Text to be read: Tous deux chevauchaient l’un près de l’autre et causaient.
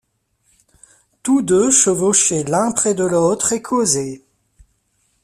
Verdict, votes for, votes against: rejected, 1, 2